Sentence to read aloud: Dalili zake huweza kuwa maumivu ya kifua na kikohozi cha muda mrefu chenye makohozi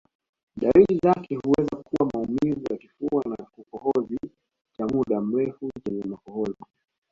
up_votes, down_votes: 0, 2